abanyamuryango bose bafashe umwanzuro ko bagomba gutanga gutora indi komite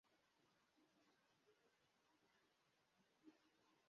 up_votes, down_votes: 0, 2